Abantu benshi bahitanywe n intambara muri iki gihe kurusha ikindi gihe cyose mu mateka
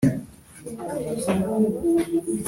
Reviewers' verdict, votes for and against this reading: rejected, 0, 2